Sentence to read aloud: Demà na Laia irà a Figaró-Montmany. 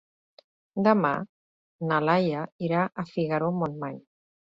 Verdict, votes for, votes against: accepted, 2, 0